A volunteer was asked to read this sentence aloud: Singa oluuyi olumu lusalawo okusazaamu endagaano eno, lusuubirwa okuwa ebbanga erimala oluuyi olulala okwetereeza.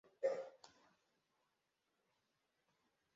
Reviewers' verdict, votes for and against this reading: rejected, 0, 2